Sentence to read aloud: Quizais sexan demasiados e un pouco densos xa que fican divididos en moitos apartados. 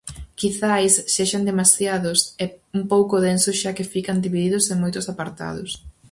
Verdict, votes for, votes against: accepted, 4, 0